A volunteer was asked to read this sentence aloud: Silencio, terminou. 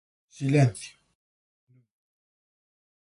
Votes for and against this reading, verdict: 0, 2, rejected